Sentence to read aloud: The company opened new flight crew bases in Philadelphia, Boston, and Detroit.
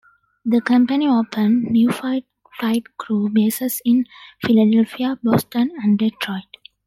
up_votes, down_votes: 0, 2